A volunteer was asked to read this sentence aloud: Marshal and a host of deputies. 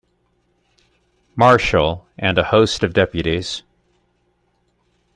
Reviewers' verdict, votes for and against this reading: accepted, 2, 0